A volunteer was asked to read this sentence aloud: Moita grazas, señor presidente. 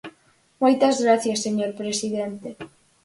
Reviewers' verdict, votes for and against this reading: rejected, 0, 2